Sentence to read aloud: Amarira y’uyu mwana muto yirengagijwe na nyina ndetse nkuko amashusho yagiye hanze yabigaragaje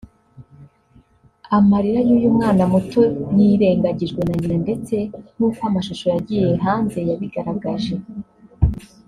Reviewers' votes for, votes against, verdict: 1, 2, rejected